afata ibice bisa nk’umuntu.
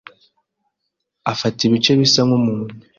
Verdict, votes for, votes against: accepted, 2, 0